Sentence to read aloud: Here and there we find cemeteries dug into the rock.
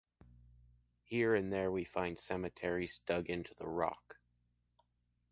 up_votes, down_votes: 2, 0